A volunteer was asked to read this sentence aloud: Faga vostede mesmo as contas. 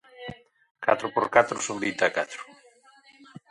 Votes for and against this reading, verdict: 0, 2, rejected